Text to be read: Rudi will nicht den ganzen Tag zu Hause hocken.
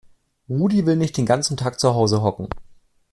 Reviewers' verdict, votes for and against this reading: accepted, 2, 0